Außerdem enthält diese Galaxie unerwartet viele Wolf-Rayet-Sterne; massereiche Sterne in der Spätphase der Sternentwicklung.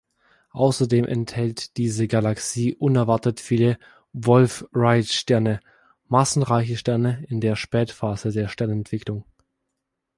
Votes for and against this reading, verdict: 1, 3, rejected